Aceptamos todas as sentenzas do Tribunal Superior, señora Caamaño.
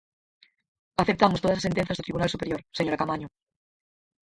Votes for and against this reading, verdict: 2, 4, rejected